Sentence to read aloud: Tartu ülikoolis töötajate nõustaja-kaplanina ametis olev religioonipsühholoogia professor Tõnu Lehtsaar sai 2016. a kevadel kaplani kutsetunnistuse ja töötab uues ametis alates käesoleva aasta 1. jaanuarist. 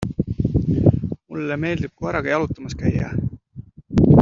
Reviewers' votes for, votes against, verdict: 0, 2, rejected